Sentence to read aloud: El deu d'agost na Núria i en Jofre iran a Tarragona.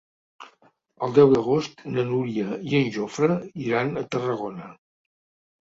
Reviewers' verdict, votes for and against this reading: accepted, 4, 0